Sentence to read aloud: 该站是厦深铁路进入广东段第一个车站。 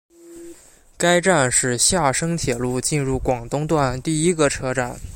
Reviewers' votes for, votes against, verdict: 2, 0, accepted